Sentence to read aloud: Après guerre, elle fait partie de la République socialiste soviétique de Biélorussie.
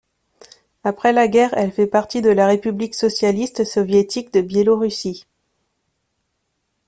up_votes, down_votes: 0, 2